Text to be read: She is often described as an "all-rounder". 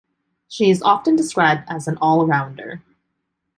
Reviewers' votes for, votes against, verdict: 1, 2, rejected